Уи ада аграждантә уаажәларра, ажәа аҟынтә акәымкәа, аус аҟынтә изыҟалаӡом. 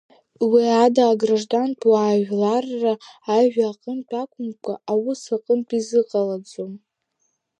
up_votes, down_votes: 0, 2